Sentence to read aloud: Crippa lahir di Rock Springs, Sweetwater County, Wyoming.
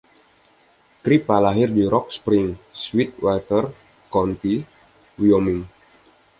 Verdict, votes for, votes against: rejected, 1, 2